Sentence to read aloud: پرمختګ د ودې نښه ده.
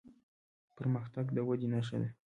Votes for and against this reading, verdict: 2, 0, accepted